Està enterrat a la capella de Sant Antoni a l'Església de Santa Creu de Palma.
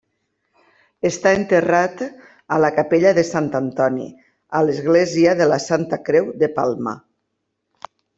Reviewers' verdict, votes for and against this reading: rejected, 0, 2